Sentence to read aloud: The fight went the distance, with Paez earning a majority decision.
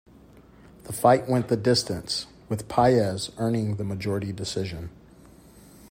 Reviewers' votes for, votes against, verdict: 2, 0, accepted